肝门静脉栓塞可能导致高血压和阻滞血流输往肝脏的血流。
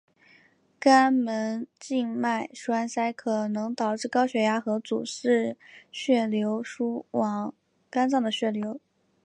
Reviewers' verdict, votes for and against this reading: accepted, 2, 0